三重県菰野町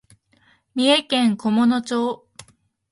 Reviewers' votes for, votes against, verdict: 3, 0, accepted